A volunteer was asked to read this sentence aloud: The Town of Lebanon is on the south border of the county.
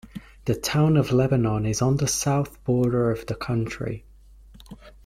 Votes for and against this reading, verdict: 1, 2, rejected